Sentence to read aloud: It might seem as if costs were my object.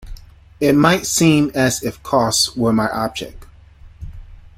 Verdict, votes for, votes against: accepted, 2, 0